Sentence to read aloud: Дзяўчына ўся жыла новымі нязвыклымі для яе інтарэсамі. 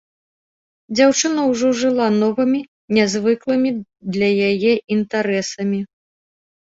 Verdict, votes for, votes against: rejected, 0, 2